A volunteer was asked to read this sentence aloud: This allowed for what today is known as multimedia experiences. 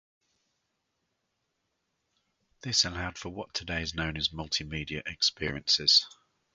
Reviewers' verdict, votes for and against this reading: accepted, 4, 0